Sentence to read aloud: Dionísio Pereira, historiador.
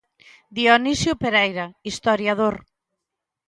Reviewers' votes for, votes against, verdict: 2, 0, accepted